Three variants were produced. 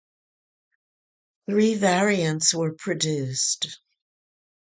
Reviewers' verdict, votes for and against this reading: accepted, 4, 2